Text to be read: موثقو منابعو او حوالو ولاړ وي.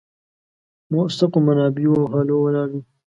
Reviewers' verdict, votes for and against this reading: rejected, 0, 2